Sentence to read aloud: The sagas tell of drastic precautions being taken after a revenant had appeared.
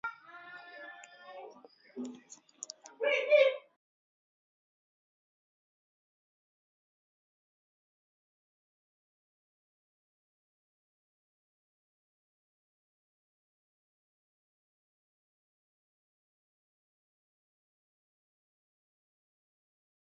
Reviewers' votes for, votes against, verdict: 0, 4, rejected